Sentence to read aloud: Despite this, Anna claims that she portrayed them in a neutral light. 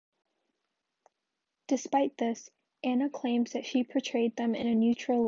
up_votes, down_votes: 1, 2